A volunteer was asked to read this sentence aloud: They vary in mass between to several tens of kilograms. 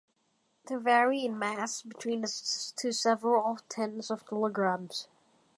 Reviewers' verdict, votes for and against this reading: rejected, 1, 2